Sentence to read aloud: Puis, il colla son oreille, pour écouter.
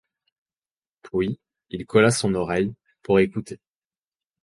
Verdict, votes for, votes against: accepted, 4, 0